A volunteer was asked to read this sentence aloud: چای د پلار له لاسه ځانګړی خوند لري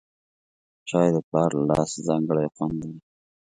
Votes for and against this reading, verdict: 2, 0, accepted